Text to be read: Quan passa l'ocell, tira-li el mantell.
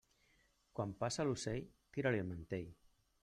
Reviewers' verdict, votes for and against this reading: rejected, 1, 2